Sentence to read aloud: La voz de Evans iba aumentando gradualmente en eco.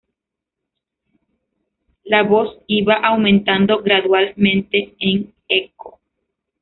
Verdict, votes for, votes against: rejected, 1, 2